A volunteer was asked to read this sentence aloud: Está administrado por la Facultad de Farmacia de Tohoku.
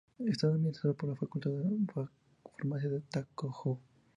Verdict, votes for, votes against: accepted, 2, 0